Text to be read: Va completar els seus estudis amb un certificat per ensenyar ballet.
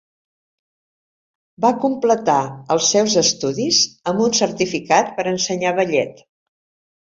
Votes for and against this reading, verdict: 2, 0, accepted